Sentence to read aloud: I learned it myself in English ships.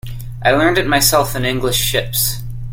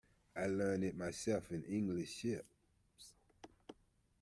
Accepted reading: first